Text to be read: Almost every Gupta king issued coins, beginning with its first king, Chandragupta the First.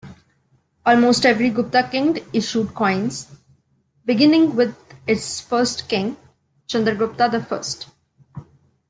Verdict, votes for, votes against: rejected, 1, 2